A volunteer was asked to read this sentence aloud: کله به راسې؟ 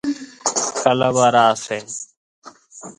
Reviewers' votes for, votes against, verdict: 1, 2, rejected